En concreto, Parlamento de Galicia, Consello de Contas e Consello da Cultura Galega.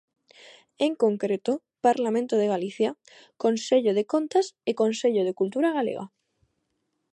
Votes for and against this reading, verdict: 0, 2, rejected